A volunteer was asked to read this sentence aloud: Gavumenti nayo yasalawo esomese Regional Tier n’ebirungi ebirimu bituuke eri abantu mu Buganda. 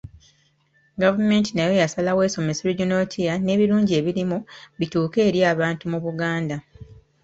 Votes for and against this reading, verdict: 0, 2, rejected